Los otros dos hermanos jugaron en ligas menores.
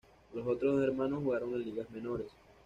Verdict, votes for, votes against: accepted, 2, 0